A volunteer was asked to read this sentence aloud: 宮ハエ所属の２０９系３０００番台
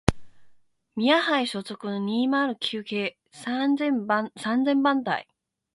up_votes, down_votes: 0, 2